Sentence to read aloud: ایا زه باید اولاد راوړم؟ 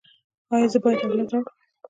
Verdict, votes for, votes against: rejected, 1, 2